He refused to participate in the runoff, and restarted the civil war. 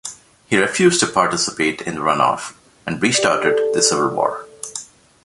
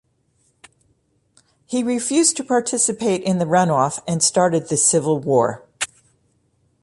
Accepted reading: first